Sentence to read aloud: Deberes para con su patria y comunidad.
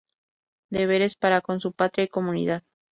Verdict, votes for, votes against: accepted, 2, 0